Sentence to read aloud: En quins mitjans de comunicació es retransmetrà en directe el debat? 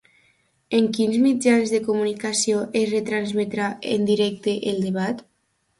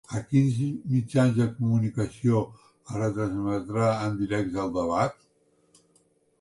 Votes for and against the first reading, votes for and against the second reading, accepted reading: 2, 0, 2, 3, first